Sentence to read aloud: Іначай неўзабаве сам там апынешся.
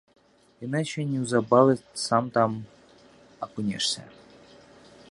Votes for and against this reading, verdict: 2, 0, accepted